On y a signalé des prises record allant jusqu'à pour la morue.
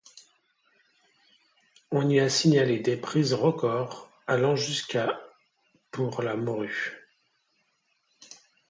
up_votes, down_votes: 2, 0